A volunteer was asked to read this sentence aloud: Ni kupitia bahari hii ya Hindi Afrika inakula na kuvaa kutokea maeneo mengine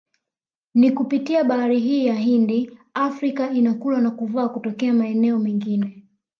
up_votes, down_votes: 2, 0